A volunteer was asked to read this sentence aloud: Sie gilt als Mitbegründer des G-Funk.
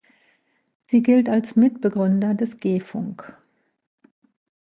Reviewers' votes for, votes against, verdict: 1, 2, rejected